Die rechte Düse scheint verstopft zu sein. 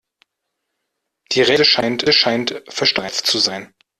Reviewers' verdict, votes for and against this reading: rejected, 0, 2